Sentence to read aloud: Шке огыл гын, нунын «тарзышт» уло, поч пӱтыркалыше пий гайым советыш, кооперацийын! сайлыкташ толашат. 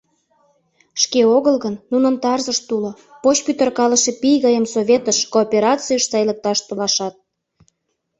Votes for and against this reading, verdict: 0, 2, rejected